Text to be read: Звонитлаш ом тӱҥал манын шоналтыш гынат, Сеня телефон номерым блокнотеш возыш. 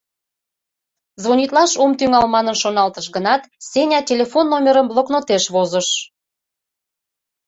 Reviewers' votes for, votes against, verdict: 2, 0, accepted